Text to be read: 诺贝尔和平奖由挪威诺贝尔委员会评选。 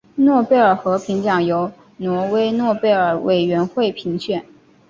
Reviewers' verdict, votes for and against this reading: accepted, 2, 0